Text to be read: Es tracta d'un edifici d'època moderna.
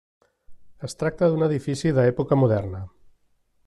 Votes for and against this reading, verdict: 1, 2, rejected